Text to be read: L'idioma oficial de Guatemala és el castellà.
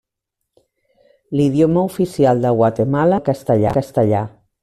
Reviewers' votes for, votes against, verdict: 0, 2, rejected